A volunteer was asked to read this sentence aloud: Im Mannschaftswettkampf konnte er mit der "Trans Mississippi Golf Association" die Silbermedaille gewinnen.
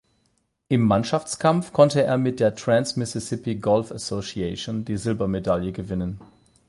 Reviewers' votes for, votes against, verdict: 4, 8, rejected